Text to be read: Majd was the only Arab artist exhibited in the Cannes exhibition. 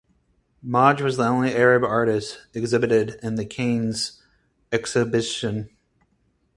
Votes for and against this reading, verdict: 2, 4, rejected